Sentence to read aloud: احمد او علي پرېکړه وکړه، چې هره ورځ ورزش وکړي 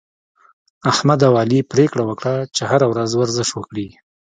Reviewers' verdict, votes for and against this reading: rejected, 1, 2